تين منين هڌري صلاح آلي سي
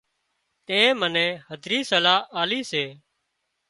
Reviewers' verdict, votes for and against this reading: accepted, 2, 0